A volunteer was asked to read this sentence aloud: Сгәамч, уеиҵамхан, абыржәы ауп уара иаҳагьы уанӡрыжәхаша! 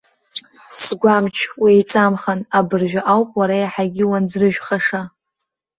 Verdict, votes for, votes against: accepted, 2, 0